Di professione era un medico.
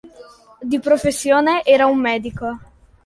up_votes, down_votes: 2, 0